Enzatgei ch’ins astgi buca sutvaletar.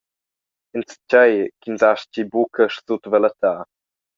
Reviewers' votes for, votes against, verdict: 0, 2, rejected